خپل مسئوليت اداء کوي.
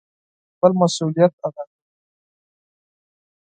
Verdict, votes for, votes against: rejected, 2, 4